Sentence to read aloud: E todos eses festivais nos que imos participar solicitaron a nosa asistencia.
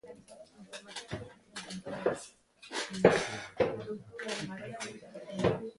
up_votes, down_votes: 0, 2